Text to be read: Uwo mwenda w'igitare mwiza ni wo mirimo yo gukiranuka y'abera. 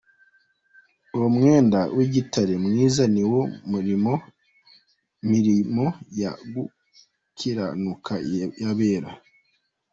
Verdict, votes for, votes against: rejected, 0, 2